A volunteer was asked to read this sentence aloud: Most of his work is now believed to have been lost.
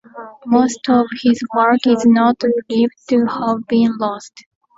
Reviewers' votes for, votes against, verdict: 1, 2, rejected